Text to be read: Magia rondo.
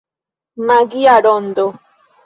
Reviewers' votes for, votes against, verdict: 1, 2, rejected